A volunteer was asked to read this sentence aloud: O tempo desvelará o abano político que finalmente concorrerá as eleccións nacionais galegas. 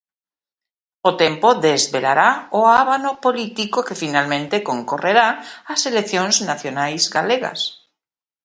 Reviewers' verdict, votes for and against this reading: rejected, 0, 2